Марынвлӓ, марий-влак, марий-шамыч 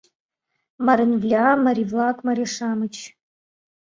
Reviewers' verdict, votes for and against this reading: accepted, 2, 1